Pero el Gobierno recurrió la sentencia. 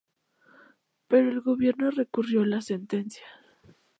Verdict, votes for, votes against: accepted, 2, 0